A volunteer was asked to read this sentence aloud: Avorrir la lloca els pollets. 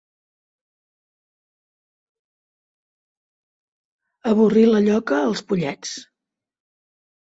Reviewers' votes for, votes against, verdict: 2, 0, accepted